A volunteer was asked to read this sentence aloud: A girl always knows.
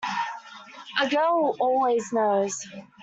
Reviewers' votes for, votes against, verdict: 2, 1, accepted